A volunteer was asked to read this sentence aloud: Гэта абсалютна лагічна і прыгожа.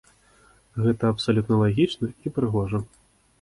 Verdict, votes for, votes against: accepted, 2, 0